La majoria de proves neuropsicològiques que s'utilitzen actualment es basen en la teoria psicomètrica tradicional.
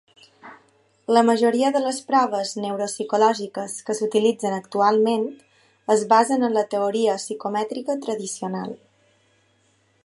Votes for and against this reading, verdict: 1, 2, rejected